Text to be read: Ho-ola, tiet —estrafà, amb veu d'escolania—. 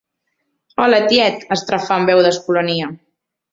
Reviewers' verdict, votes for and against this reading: rejected, 0, 2